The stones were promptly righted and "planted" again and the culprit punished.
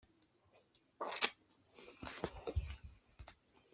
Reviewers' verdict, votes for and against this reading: rejected, 0, 2